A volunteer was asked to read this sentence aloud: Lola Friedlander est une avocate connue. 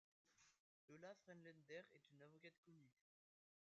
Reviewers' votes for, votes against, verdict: 0, 2, rejected